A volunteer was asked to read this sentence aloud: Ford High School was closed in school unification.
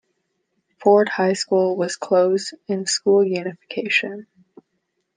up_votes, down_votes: 2, 0